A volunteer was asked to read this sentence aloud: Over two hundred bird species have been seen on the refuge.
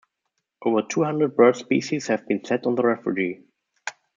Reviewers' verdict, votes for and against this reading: rejected, 1, 2